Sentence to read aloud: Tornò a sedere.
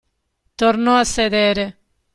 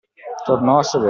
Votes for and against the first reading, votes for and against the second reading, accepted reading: 2, 0, 0, 2, first